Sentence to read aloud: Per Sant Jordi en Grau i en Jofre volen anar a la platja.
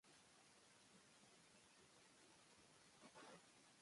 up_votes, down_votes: 0, 2